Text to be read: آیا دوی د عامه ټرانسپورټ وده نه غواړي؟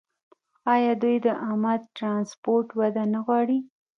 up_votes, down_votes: 1, 2